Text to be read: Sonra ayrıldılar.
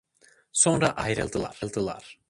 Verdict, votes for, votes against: rejected, 0, 2